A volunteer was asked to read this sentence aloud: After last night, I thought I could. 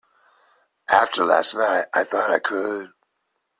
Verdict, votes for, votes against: accepted, 2, 0